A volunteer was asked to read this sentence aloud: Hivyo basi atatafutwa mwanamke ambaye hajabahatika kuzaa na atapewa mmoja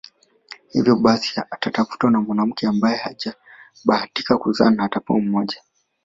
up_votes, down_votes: 2, 0